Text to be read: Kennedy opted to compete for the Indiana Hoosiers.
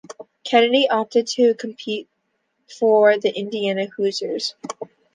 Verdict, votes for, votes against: accepted, 2, 0